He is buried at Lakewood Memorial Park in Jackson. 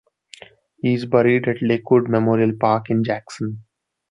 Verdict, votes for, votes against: accepted, 2, 0